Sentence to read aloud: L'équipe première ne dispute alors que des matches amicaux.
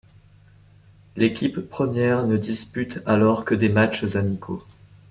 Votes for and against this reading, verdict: 2, 0, accepted